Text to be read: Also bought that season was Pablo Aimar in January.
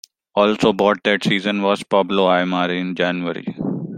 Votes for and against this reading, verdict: 0, 2, rejected